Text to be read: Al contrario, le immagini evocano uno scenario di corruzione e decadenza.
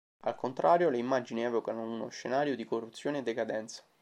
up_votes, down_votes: 2, 0